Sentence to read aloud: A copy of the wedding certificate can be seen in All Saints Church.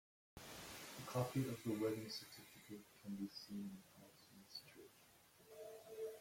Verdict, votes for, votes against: rejected, 0, 2